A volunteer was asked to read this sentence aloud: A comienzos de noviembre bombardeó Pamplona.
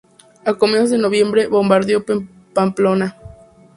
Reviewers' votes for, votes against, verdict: 2, 0, accepted